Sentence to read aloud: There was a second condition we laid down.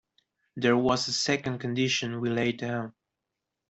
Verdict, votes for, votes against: accepted, 2, 0